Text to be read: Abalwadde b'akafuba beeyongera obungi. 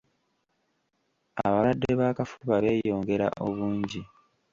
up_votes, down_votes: 2, 0